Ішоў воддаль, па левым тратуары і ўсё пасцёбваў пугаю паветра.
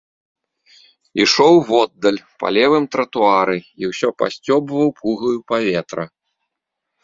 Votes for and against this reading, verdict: 2, 0, accepted